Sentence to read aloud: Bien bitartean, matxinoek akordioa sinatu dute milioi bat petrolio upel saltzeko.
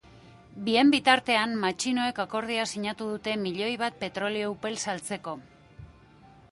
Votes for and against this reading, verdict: 3, 0, accepted